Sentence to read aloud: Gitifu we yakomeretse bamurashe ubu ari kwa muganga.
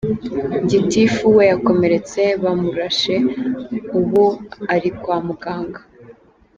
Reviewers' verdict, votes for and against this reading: accepted, 3, 0